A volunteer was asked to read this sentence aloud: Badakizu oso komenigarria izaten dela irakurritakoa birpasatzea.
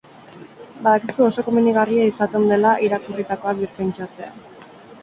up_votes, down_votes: 0, 2